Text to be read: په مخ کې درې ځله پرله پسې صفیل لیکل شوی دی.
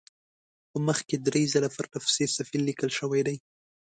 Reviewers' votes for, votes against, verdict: 2, 0, accepted